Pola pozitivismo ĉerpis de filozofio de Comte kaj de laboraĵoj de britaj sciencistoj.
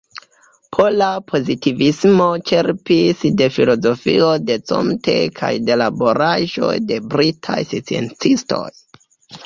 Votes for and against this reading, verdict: 2, 1, accepted